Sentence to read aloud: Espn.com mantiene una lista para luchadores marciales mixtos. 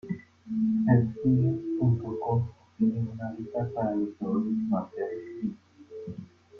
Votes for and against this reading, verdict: 0, 2, rejected